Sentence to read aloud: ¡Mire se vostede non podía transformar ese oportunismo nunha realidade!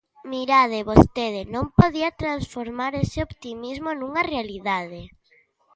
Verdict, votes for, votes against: rejected, 0, 2